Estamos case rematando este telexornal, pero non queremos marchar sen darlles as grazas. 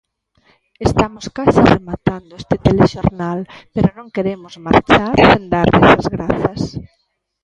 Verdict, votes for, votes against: rejected, 0, 2